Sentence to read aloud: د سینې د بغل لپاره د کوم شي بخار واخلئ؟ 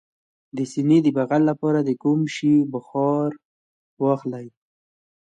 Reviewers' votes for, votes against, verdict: 0, 2, rejected